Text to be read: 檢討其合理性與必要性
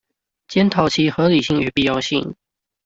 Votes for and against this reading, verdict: 2, 0, accepted